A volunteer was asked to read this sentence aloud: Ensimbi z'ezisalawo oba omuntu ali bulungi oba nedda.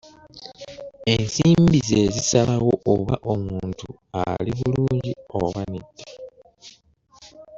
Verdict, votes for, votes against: rejected, 0, 2